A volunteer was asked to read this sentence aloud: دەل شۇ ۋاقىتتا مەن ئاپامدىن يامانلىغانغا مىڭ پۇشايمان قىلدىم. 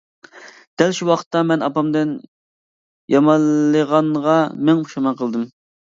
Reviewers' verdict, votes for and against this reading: accepted, 2, 0